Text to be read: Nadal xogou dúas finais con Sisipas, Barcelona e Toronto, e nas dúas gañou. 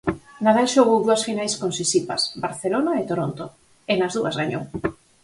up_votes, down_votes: 4, 0